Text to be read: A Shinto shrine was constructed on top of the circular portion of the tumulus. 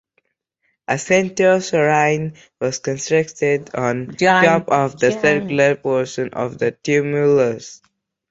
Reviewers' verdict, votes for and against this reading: rejected, 0, 2